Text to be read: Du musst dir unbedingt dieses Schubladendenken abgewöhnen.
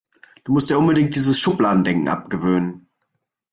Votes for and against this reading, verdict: 2, 0, accepted